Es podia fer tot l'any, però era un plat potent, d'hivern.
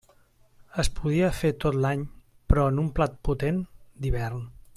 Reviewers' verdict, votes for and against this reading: rejected, 0, 2